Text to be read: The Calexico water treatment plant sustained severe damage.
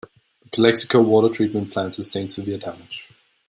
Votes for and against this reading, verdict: 1, 2, rejected